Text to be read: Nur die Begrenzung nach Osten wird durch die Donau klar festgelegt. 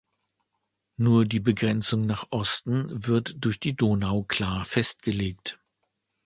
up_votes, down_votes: 2, 0